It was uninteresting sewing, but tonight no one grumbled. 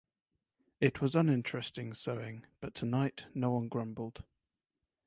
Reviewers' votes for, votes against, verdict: 4, 0, accepted